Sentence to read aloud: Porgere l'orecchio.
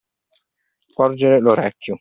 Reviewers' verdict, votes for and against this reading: accepted, 2, 0